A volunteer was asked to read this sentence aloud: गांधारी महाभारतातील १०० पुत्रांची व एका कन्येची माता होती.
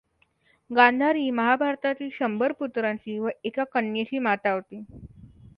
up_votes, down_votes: 0, 2